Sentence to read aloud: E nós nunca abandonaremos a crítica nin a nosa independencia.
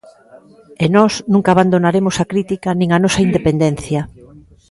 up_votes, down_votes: 2, 0